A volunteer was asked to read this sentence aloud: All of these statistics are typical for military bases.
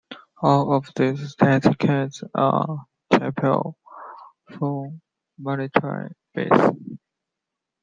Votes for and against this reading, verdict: 0, 2, rejected